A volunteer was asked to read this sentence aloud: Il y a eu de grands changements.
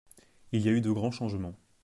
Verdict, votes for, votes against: accepted, 2, 0